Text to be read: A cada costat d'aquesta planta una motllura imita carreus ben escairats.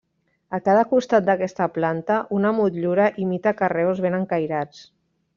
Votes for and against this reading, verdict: 0, 2, rejected